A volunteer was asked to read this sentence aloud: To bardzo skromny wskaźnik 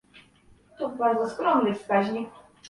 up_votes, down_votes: 1, 2